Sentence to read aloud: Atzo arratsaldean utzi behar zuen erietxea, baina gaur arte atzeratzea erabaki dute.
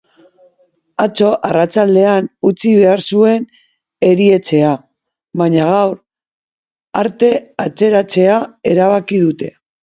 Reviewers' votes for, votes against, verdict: 0, 2, rejected